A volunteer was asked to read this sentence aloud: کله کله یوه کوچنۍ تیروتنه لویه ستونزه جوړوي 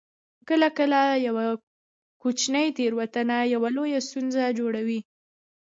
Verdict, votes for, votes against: accepted, 2, 0